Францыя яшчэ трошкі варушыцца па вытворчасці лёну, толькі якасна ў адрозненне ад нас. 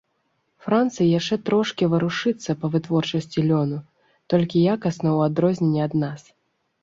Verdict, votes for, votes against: accepted, 2, 0